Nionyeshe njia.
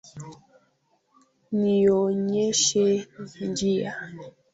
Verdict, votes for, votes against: accepted, 2, 1